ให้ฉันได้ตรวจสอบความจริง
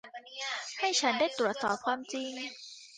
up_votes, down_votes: 0, 2